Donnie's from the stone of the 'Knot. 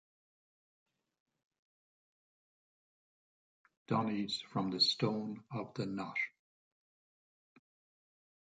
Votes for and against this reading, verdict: 1, 2, rejected